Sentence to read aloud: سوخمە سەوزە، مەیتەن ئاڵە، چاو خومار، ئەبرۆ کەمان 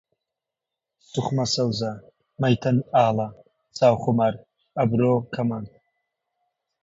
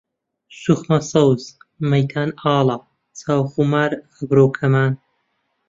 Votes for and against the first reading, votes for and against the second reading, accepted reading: 2, 0, 1, 2, first